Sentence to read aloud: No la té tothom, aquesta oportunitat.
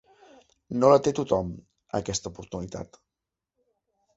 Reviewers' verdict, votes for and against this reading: accepted, 4, 0